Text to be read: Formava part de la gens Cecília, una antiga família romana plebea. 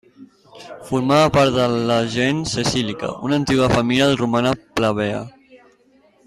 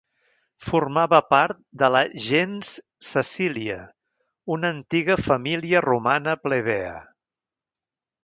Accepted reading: second